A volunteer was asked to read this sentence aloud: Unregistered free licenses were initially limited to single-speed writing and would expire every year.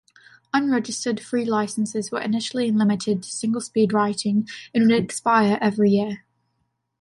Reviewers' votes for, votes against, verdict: 2, 0, accepted